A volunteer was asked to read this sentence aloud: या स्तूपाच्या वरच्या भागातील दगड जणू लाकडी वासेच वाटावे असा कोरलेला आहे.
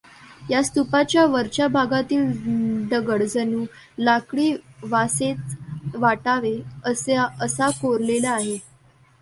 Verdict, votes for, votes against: rejected, 1, 2